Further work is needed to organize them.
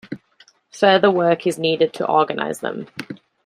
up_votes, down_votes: 2, 0